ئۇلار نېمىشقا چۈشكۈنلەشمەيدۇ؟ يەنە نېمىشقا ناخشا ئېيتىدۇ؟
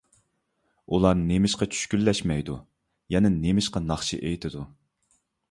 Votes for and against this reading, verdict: 2, 0, accepted